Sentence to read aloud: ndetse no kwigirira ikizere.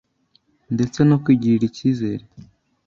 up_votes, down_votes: 2, 0